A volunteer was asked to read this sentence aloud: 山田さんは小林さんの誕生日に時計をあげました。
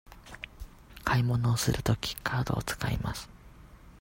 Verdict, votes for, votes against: rejected, 0, 2